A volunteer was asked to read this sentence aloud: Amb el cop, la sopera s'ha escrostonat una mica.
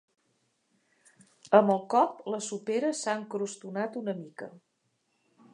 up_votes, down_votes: 2, 0